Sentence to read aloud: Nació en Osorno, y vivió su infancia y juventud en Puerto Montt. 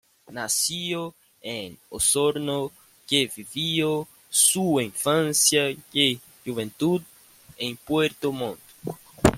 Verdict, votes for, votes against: rejected, 1, 2